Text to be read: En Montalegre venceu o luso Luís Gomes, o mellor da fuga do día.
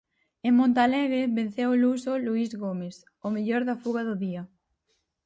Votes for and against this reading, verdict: 4, 0, accepted